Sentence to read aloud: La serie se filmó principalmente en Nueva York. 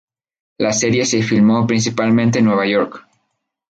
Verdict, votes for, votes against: accepted, 4, 0